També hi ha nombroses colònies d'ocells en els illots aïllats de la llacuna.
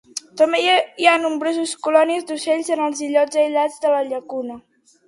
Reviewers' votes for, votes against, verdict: 0, 2, rejected